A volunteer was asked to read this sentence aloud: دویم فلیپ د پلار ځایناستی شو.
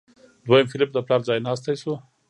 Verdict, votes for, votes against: rejected, 0, 2